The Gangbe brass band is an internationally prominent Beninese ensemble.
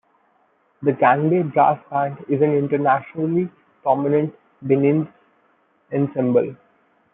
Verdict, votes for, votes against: rejected, 0, 2